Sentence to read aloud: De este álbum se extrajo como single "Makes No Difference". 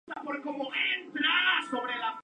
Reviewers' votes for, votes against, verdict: 0, 2, rejected